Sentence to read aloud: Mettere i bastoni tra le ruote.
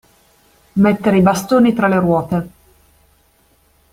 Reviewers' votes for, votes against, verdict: 2, 0, accepted